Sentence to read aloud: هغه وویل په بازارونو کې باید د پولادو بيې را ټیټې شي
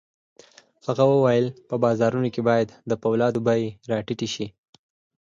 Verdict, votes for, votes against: accepted, 4, 0